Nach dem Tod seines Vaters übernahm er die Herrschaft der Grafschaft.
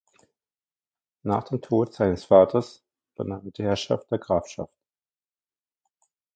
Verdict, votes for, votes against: rejected, 1, 2